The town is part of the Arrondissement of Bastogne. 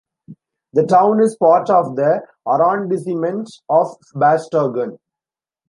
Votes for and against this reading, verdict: 2, 0, accepted